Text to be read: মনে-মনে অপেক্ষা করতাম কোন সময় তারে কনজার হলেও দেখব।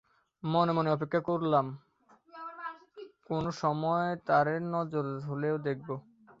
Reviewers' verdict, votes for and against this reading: rejected, 0, 2